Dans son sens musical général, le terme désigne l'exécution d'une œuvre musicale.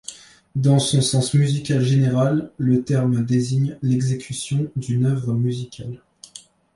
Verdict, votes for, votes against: accepted, 2, 0